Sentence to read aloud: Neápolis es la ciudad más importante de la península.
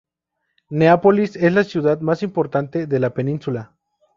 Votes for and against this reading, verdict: 2, 0, accepted